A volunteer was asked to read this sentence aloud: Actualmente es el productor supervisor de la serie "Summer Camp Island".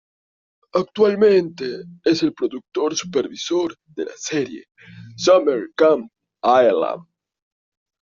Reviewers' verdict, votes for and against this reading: accepted, 2, 1